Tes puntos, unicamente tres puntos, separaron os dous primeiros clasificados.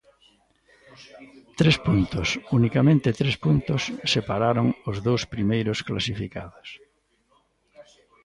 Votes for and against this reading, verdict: 1, 2, rejected